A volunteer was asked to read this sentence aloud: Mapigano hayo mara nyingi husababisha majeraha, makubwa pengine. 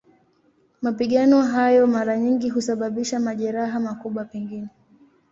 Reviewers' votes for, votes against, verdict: 7, 1, accepted